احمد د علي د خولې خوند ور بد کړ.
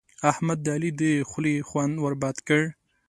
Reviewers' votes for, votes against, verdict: 2, 0, accepted